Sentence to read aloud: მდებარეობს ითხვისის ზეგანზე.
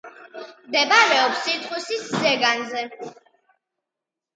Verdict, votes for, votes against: accepted, 2, 0